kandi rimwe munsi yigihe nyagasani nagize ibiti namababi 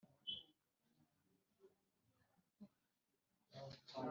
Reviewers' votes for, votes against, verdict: 1, 2, rejected